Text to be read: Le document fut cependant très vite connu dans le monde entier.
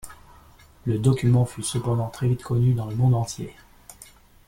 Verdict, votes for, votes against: accepted, 2, 0